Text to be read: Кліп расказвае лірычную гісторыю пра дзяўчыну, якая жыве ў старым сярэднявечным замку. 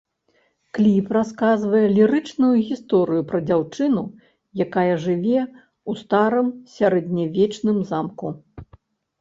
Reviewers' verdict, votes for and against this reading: rejected, 1, 2